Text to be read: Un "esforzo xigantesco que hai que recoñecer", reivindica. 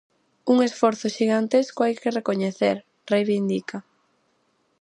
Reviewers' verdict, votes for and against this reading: rejected, 0, 4